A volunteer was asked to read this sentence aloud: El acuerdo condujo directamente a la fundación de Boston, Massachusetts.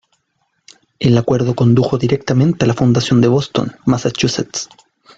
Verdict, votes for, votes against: accepted, 2, 1